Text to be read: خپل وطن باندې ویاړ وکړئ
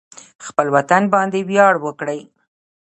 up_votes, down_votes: 0, 2